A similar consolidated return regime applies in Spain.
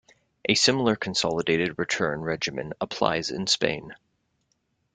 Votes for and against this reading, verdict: 0, 2, rejected